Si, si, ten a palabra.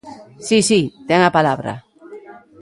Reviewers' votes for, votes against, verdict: 1, 2, rejected